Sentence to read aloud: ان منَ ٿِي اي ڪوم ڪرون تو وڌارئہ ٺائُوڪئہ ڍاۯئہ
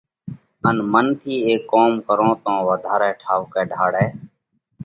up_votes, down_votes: 2, 0